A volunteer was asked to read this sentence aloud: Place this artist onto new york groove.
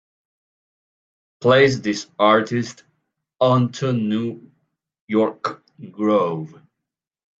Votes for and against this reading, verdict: 0, 2, rejected